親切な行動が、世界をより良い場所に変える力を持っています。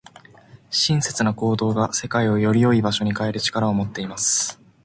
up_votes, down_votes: 2, 2